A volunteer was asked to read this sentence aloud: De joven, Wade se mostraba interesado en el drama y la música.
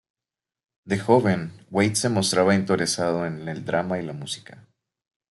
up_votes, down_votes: 0, 2